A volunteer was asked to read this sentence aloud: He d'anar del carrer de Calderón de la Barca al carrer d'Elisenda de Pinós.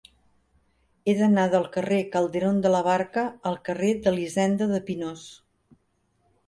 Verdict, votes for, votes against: rejected, 1, 2